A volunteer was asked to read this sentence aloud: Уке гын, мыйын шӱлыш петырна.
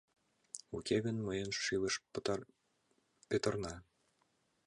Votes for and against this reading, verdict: 1, 2, rejected